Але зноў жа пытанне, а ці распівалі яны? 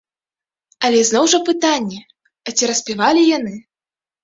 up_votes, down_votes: 2, 0